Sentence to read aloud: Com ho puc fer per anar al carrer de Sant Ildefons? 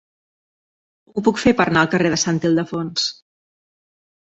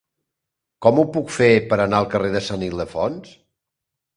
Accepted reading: second